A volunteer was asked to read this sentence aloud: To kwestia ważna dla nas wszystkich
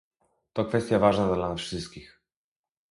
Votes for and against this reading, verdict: 0, 2, rejected